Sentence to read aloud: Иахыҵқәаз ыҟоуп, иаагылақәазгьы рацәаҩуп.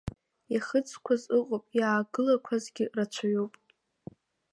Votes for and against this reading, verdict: 2, 0, accepted